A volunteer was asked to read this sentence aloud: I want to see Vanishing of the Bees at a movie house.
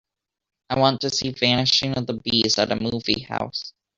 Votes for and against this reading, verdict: 2, 0, accepted